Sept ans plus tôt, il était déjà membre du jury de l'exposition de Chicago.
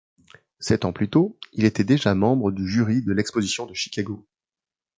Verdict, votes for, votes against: accepted, 2, 0